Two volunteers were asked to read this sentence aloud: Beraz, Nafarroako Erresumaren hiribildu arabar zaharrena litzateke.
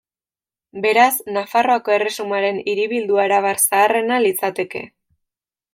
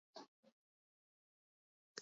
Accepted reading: first